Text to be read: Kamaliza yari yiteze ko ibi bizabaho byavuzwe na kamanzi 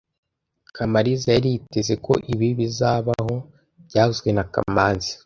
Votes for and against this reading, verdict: 2, 0, accepted